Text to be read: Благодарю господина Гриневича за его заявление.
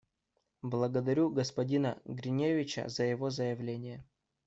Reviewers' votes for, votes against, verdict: 2, 0, accepted